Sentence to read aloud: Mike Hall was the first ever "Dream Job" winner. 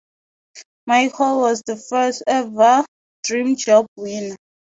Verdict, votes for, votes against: rejected, 0, 4